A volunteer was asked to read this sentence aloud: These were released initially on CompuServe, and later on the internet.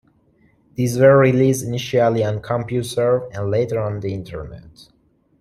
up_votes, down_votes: 2, 1